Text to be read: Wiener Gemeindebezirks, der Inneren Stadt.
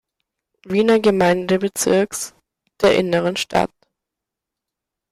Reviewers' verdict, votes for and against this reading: accepted, 2, 0